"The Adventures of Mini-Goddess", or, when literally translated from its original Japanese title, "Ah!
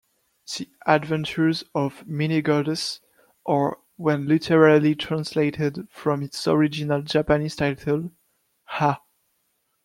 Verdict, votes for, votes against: rejected, 0, 2